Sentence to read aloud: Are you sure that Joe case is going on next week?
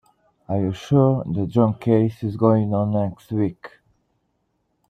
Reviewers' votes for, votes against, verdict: 1, 2, rejected